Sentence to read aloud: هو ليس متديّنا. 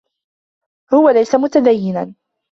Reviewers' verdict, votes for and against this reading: accepted, 2, 0